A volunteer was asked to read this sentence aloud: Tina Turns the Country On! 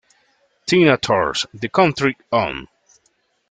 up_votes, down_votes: 2, 3